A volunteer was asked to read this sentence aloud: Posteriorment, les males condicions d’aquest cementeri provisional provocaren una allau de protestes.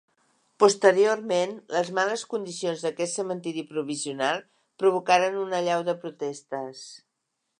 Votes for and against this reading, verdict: 2, 0, accepted